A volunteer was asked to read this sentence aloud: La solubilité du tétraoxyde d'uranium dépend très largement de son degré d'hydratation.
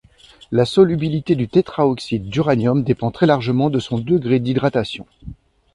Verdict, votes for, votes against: accepted, 2, 0